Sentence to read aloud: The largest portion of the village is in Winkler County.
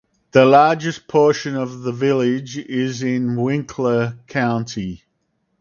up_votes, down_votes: 4, 0